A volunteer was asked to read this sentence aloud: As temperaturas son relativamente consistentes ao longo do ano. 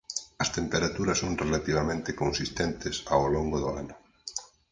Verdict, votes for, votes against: accepted, 4, 2